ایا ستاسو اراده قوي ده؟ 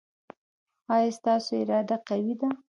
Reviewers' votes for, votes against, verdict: 1, 2, rejected